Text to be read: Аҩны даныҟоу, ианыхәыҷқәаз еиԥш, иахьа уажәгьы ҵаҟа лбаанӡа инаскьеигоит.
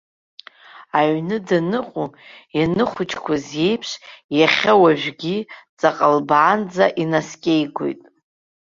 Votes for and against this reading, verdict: 1, 2, rejected